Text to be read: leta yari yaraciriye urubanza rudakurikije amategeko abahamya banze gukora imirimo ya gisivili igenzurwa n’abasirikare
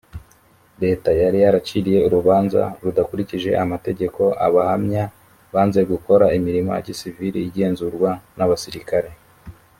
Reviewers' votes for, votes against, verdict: 2, 0, accepted